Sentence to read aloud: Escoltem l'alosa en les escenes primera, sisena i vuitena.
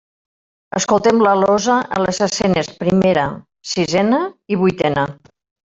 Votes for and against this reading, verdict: 1, 2, rejected